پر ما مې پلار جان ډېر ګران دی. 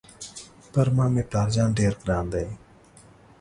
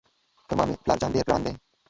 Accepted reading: first